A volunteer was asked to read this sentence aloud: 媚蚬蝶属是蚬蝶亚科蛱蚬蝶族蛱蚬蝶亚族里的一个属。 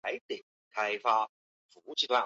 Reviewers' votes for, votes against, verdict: 0, 2, rejected